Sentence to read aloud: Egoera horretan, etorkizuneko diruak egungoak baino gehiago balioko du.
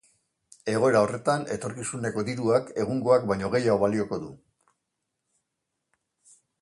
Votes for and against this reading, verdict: 2, 0, accepted